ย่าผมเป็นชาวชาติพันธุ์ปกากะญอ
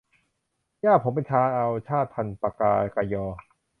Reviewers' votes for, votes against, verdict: 2, 1, accepted